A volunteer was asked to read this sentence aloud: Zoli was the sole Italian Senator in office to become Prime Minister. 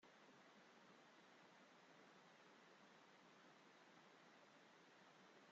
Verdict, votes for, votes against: rejected, 0, 2